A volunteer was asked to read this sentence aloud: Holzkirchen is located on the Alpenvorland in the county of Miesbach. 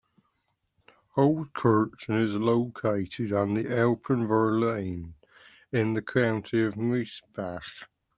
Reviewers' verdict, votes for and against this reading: accepted, 2, 1